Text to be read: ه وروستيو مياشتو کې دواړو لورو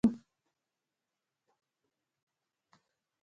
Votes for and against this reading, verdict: 1, 2, rejected